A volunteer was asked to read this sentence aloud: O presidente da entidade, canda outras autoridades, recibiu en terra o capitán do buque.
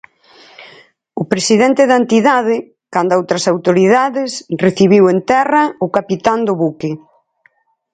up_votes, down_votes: 4, 0